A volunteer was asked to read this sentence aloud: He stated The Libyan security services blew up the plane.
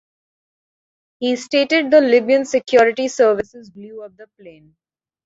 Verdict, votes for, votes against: accepted, 2, 0